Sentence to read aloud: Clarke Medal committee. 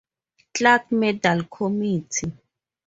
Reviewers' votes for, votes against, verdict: 0, 2, rejected